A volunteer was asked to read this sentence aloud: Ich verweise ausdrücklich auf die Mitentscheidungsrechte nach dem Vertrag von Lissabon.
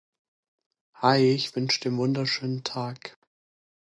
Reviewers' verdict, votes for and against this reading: rejected, 0, 2